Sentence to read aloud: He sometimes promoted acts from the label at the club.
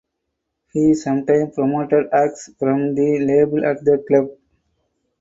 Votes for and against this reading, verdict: 4, 0, accepted